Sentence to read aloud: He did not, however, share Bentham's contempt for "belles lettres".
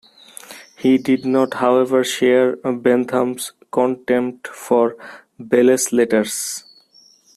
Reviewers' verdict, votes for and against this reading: rejected, 0, 2